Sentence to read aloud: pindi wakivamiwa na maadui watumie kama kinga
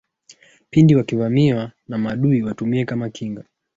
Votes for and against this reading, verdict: 0, 2, rejected